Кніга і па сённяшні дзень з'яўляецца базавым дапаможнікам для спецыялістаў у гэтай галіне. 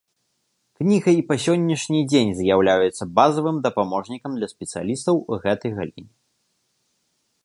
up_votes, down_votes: 0, 2